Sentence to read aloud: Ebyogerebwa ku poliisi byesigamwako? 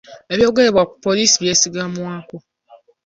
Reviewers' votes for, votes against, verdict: 2, 0, accepted